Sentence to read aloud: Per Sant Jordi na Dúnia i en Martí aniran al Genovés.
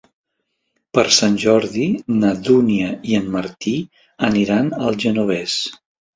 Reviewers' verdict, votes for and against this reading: accepted, 2, 0